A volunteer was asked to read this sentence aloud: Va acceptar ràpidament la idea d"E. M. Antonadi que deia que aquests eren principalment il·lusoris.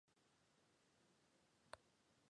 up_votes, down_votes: 0, 2